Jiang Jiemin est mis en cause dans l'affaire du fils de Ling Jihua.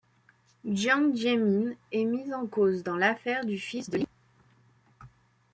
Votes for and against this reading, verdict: 0, 2, rejected